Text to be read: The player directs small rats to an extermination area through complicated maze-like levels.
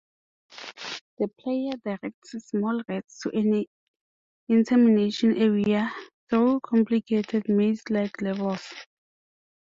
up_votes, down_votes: 1, 2